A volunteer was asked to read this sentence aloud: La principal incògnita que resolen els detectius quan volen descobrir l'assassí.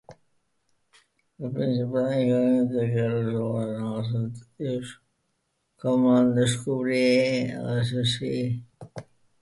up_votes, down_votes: 0, 2